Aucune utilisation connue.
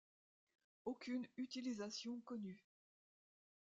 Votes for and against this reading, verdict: 2, 0, accepted